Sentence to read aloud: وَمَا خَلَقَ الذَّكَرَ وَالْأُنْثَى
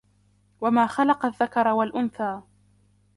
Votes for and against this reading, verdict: 1, 2, rejected